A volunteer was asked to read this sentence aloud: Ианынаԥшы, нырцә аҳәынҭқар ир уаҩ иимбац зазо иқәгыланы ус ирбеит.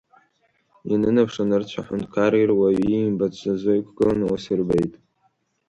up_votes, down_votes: 1, 2